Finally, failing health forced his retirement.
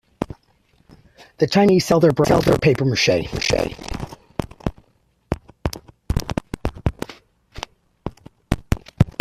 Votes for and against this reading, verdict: 0, 2, rejected